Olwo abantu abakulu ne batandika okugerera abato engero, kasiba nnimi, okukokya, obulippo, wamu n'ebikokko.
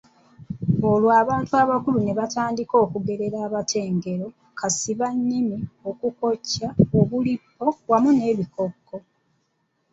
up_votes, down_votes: 0, 2